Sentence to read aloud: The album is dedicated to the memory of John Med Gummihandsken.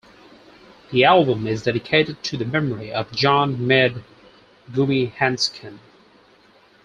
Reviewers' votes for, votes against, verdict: 4, 0, accepted